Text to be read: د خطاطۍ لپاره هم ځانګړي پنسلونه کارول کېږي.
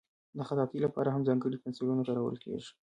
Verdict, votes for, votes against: accepted, 2, 1